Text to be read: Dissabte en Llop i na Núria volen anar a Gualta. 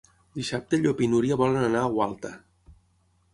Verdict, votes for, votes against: rejected, 3, 6